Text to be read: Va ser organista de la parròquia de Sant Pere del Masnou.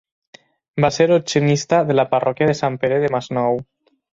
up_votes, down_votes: 0, 6